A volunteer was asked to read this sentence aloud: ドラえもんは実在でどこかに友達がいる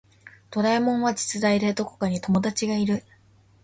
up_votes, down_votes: 2, 0